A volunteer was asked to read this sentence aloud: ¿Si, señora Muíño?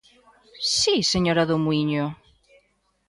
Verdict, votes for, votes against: rejected, 0, 2